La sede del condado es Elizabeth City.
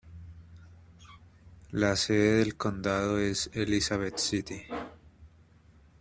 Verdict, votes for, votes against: accepted, 2, 0